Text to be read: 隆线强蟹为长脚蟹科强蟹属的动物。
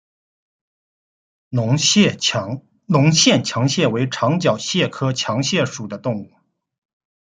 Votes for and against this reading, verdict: 1, 2, rejected